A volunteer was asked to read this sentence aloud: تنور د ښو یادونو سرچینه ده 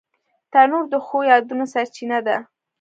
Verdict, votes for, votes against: rejected, 0, 2